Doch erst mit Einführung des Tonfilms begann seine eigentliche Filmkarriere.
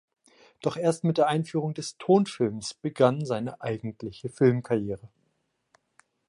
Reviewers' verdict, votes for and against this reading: rejected, 0, 2